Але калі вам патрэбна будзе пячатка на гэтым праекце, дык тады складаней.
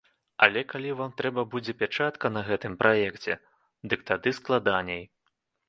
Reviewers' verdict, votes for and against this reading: rejected, 0, 2